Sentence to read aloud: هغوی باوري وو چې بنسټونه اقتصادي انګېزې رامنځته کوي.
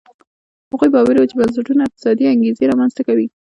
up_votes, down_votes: 2, 0